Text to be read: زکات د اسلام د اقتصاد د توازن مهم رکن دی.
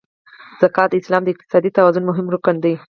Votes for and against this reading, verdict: 4, 6, rejected